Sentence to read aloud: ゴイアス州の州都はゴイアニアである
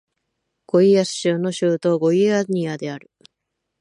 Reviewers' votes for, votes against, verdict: 2, 0, accepted